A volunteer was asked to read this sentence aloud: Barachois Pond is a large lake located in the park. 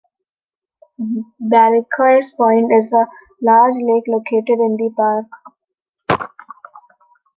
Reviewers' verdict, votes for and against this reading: rejected, 0, 2